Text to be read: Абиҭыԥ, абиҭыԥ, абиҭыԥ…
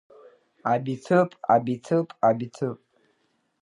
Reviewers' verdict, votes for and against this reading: accepted, 2, 1